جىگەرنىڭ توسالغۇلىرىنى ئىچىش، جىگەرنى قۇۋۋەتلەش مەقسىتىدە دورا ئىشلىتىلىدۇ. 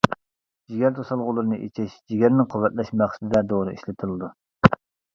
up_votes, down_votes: 1, 2